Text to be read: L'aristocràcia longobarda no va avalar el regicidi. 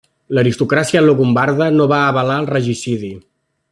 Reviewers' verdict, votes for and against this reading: rejected, 1, 2